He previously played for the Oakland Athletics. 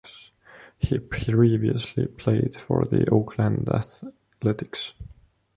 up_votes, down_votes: 2, 1